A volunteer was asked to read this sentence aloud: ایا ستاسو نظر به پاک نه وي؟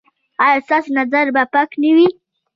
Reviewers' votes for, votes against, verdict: 2, 1, accepted